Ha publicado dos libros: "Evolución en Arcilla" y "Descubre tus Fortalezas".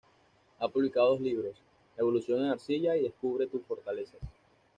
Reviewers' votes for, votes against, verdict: 0, 2, rejected